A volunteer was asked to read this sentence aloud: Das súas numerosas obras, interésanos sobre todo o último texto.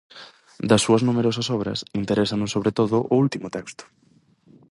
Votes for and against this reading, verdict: 4, 0, accepted